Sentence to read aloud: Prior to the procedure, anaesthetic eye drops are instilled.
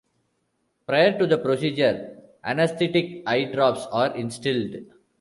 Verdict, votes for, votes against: accepted, 2, 1